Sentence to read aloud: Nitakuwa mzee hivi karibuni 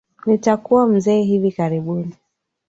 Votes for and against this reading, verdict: 6, 3, accepted